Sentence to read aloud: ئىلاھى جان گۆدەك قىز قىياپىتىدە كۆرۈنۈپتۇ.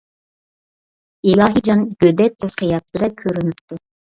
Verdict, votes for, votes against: rejected, 1, 2